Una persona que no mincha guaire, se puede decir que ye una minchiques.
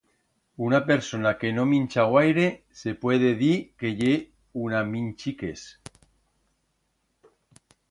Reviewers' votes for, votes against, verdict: 1, 2, rejected